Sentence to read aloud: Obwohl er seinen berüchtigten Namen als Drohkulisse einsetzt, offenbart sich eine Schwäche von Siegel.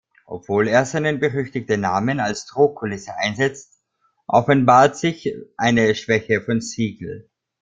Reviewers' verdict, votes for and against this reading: rejected, 1, 2